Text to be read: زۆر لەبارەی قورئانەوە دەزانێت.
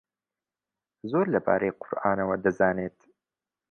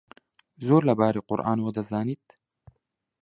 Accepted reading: first